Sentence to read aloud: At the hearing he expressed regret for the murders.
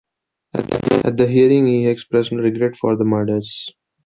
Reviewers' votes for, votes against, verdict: 1, 2, rejected